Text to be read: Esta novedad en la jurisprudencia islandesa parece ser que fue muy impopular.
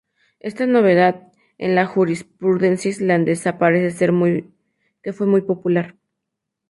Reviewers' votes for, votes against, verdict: 0, 2, rejected